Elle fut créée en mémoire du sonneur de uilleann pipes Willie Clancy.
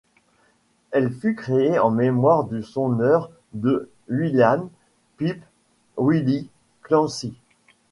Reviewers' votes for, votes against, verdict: 1, 2, rejected